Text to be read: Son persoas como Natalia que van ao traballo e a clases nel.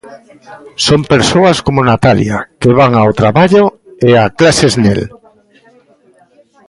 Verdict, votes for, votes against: rejected, 1, 2